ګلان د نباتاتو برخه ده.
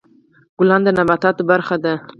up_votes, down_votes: 4, 2